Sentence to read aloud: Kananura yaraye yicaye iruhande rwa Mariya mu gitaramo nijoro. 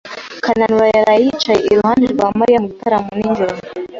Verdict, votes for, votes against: accepted, 2, 0